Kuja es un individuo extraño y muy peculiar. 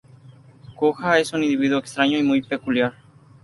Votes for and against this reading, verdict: 2, 0, accepted